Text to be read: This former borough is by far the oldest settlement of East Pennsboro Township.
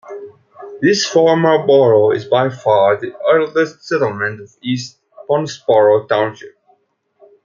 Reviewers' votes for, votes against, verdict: 2, 1, accepted